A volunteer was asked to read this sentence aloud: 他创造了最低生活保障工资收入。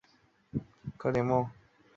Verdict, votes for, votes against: accepted, 3, 0